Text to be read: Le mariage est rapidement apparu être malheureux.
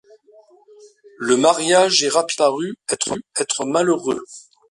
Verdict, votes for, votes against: rejected, 0, 2